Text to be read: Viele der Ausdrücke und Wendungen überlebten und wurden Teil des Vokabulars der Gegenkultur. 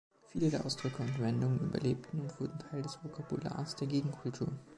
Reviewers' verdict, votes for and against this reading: accepted, 2, 0